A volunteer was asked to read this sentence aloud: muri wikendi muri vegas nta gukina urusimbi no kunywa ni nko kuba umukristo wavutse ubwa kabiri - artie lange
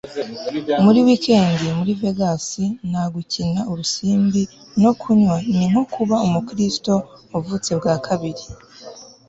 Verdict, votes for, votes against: rejected, 1, 2